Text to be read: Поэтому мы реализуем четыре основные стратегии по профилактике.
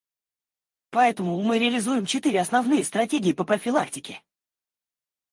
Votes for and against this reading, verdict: 0, 4, rejected